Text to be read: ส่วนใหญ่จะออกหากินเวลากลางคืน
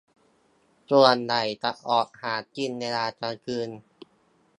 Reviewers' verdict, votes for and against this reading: accepted, 2, 1